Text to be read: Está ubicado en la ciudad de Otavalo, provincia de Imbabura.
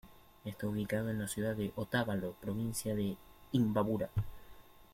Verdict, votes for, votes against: rejected, 0, 2